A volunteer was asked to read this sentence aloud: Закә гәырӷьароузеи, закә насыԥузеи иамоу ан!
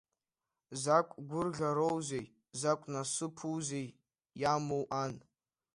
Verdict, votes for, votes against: rejected, 1, 2